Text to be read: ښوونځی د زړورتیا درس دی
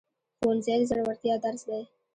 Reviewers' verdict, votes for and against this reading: accepted, 2, 0